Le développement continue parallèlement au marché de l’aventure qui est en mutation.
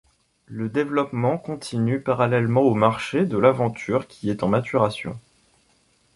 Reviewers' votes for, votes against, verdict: 1, 2, rejected